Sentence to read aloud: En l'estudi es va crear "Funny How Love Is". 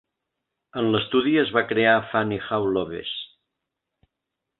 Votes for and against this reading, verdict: 0, 2, rejected